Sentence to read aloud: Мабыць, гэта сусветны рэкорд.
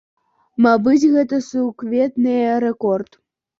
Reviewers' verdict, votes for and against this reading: rejected, 0, 2